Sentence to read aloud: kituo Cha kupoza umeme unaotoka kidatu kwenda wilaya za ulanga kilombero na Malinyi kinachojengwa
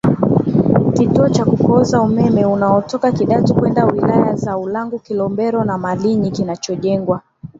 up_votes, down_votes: 6, 5